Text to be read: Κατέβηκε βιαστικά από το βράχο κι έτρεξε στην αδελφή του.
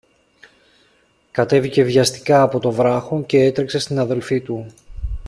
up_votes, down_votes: 2, 0